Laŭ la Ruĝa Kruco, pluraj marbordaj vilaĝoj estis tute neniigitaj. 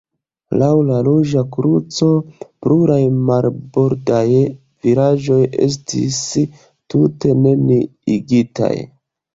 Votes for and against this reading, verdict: 0, 2, rejected